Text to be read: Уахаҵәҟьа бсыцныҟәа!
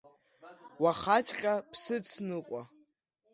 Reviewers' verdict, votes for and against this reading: accepted, 2, 0